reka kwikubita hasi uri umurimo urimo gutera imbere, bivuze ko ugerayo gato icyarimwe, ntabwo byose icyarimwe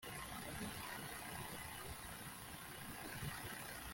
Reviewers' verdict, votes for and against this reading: rejected, 0, 2